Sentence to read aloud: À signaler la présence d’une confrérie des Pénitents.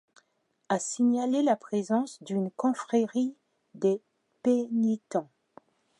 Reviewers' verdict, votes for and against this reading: rejected, 1, 2